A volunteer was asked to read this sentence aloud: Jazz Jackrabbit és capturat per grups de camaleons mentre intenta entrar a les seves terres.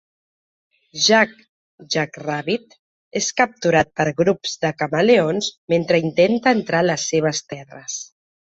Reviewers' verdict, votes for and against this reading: rejected, 0, 2